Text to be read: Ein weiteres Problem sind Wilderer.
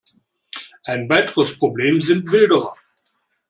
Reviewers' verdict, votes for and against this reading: accepted, 2, 0